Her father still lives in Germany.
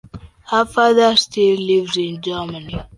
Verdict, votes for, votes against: accepted, 2, 0